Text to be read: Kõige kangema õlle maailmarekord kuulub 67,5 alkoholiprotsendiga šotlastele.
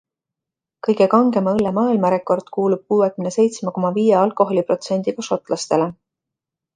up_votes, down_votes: 0, 2